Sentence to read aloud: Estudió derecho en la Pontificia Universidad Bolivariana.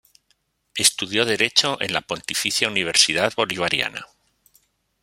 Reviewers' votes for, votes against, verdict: 1, 2, rejected